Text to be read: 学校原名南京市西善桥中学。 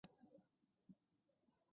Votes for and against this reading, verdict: 1, 3, rejected